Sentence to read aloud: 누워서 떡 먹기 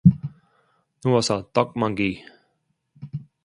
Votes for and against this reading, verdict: 1, 2, rejected